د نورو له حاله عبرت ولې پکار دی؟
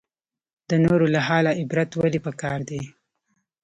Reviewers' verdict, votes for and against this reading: accepted, 2, 0